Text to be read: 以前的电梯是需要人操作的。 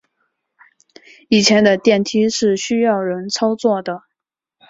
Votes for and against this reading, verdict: 9, 0, accepted